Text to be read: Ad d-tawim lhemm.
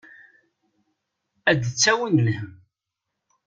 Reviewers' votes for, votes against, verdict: 2, 0, accepted